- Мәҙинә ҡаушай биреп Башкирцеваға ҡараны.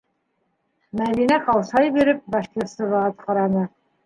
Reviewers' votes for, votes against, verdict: 2, 1, accepted